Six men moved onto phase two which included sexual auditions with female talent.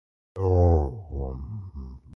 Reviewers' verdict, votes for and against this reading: rejected, 0, 2